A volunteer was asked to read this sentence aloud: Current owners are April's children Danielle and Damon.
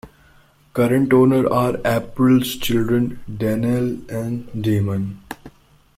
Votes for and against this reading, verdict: 2, 0, accepted